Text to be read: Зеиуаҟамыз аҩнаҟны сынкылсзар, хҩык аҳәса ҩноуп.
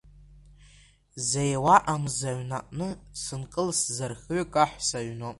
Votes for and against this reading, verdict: 1, 2, rejected